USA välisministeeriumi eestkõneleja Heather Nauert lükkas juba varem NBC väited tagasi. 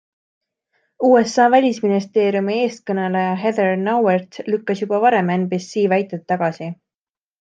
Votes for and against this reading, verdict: 2, 0, accepted